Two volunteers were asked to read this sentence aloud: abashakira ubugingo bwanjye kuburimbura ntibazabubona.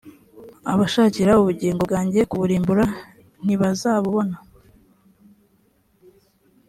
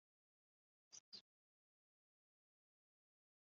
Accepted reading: first